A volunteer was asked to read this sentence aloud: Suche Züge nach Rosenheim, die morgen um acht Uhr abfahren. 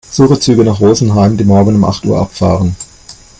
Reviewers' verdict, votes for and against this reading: rejected, 1, 2